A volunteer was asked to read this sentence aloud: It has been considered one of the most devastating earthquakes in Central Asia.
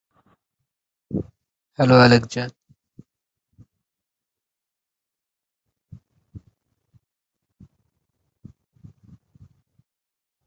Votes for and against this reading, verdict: 0, 2, rejected